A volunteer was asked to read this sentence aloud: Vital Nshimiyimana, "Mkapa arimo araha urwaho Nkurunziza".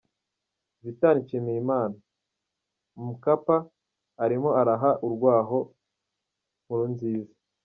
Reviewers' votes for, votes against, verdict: 2, 0, accepted